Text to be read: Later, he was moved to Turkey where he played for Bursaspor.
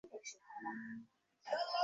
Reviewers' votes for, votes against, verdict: 0, 2, rejected